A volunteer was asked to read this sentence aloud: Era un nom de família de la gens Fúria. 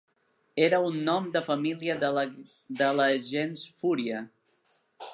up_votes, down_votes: 0, 3